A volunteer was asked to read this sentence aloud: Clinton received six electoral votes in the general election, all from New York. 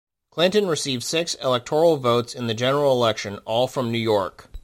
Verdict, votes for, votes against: accepted, 2, 0